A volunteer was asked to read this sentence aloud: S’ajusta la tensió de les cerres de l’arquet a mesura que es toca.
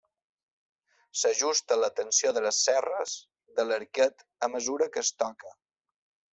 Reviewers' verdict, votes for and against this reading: accepted, 2, 0